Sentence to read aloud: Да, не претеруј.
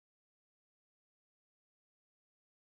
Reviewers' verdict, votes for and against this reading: rejected, 0, 2